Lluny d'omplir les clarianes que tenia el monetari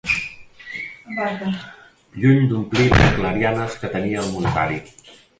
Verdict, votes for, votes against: rejected, 0, 2